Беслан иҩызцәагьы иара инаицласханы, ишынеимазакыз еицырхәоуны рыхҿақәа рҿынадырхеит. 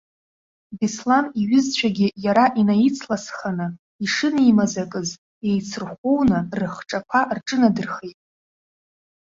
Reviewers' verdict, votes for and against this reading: accepted, 2, 0